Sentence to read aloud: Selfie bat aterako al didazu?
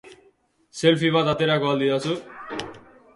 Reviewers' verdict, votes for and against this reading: accepted, 2, 0